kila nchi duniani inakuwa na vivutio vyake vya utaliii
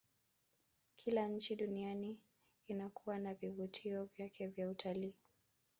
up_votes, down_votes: 0, 2